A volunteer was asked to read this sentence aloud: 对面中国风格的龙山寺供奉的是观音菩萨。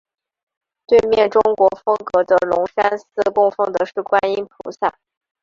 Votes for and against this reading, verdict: 2, 0, accepted